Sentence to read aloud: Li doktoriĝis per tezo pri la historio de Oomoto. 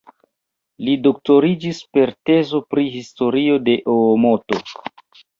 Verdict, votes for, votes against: rejected, 0, 2